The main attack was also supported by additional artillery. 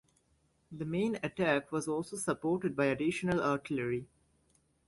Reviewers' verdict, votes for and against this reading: accepted, 2, 0